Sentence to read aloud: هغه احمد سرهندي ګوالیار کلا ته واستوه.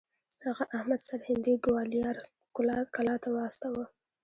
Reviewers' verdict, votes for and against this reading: accepted, 2, 0